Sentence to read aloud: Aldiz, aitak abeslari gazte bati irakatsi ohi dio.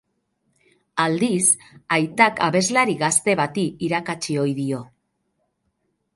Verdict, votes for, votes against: accepted, 2, 0